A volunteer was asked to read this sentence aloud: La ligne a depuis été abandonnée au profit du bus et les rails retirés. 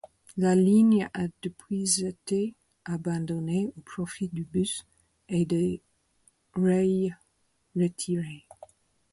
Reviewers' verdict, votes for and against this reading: rejected, 0, 4